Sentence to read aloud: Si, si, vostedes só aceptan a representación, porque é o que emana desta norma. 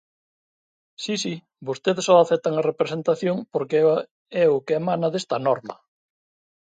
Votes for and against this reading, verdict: 1, 2, rejected